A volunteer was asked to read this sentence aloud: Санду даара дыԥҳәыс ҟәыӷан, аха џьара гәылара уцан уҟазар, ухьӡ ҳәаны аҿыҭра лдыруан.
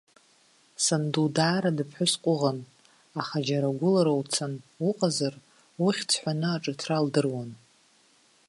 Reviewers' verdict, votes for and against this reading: accepted, 2, 0